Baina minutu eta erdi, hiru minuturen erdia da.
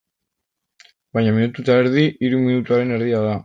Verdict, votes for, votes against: rejected, 1, 2